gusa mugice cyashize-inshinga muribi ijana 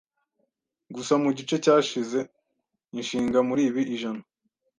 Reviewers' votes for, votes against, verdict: 2, 0, accepted